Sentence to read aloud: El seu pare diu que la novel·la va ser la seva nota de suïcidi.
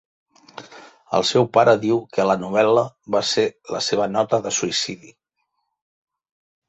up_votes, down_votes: 3, 0